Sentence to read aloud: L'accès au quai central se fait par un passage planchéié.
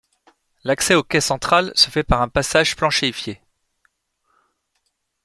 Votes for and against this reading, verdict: 0, 2, rejected